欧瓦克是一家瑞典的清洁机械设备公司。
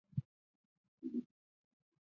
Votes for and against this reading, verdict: 0, 3, rejected